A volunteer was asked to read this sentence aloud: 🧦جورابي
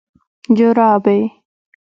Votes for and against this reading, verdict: 2, 0, accepted